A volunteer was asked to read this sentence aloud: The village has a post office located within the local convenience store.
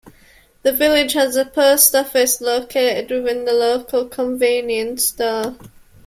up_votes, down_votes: 1, 2